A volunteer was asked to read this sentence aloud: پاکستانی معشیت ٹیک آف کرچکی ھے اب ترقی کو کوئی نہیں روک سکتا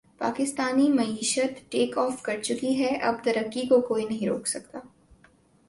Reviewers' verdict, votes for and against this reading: accepted, 2, 0